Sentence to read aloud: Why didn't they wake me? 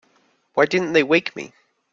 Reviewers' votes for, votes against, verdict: 3, 0, accepted